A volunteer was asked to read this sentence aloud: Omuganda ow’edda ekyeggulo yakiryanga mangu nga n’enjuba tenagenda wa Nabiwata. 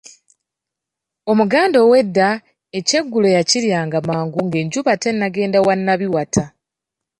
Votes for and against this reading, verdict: 2, 1, accepted